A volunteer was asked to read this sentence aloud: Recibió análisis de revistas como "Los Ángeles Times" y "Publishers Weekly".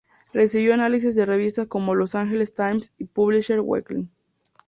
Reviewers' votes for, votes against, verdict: 0, 2, rejected